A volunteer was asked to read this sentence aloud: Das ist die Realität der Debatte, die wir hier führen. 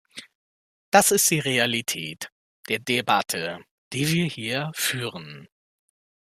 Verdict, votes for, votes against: accepted, 2, 1